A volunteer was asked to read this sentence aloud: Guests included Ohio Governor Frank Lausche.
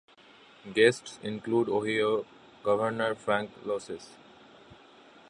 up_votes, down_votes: 0, 2